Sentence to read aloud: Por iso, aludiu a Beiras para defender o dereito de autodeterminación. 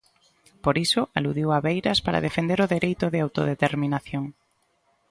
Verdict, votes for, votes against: accepted, 2, 0